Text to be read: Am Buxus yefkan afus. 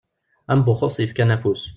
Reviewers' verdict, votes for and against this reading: accepted, 2, 0